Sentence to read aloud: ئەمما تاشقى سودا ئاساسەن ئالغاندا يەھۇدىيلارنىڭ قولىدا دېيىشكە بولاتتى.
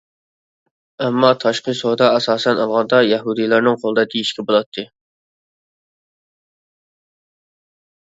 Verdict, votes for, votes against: accepted, 2, 0